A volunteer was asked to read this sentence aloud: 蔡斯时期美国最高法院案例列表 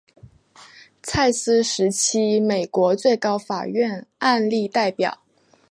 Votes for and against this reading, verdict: 0, 2, rejected